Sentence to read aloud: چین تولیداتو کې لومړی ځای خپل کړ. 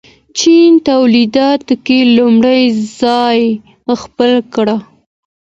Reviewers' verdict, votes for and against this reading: accepted, 2, 0